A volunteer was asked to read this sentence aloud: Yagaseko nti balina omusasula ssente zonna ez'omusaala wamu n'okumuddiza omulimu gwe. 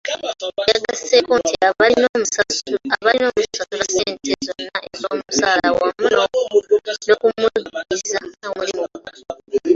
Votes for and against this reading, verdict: 0, 2, rejected